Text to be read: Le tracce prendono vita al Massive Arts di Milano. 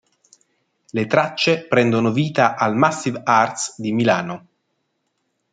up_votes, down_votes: 2, 0